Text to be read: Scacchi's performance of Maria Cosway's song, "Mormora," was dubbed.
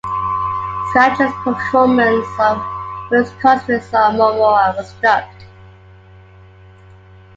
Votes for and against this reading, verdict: 2, 1, accepted